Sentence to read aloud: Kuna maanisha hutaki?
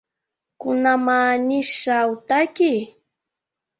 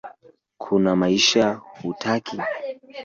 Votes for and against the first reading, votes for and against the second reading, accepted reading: 3, 2, 1, 2, first